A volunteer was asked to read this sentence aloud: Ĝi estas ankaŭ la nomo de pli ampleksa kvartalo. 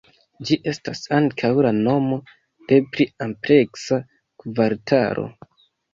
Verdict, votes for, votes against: accepted, 2, 0